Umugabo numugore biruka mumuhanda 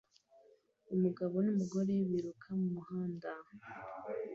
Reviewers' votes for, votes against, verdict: 1, 2, rejected